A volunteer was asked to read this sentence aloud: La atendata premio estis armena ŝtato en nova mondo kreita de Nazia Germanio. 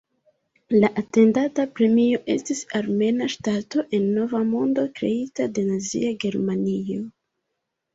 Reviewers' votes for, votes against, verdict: 2, 1, accepted